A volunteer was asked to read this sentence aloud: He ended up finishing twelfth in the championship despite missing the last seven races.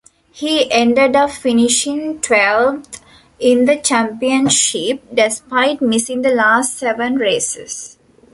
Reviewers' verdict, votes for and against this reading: accepted, 2, 0